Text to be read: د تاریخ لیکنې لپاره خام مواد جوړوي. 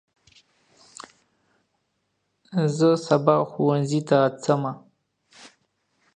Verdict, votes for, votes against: rejected, 0, 2